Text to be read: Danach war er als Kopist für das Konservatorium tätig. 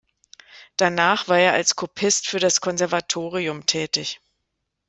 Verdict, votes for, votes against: accepted, 2, 0